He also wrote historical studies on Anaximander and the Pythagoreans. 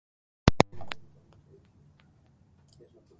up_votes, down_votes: 0, 2